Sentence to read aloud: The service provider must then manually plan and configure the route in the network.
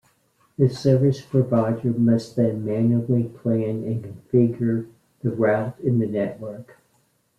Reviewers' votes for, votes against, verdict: 1, 2, rejected